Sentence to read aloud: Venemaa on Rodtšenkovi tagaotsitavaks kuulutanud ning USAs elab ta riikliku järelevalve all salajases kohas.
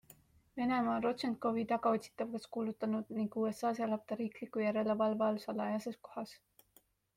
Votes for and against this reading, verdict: 3, 0, accepted